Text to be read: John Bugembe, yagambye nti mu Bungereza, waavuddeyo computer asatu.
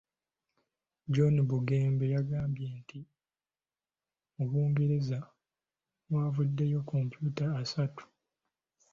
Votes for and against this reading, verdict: 2, 0, accepted